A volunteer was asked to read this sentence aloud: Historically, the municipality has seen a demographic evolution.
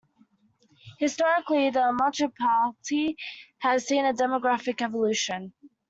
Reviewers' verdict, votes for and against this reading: rejected, 0, 2